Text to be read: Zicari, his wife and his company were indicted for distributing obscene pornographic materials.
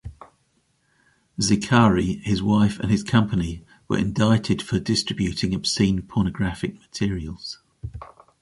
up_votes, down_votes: 2, 0